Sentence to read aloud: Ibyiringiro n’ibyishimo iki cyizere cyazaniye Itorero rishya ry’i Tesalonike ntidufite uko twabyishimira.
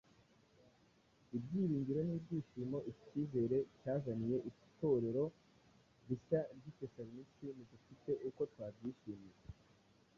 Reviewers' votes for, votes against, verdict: 1, 2, rejected